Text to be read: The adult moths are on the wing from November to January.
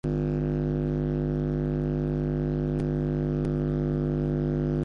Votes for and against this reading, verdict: 0, 2, rejected